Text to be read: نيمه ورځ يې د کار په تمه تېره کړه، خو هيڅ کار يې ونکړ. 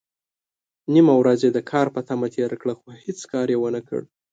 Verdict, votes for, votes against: accepted, 2, 0